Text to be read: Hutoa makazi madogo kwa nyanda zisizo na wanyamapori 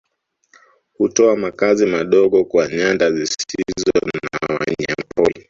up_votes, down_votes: 0, 2